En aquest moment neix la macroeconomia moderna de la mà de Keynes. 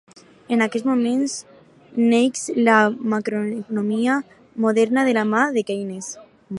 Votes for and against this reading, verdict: 2, 4, rejected